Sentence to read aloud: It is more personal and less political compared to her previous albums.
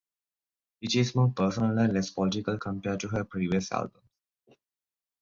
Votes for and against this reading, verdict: 0, 2, rejected